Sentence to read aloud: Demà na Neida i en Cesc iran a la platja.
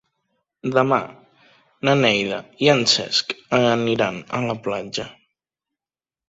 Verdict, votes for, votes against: rejected, 0, 2